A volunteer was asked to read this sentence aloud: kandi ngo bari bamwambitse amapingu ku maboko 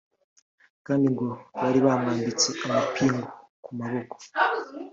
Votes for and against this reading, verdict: 2, 0, accepted